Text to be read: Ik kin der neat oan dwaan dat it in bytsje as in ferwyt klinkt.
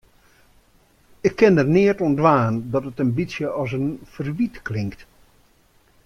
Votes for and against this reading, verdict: 2, 0, accepted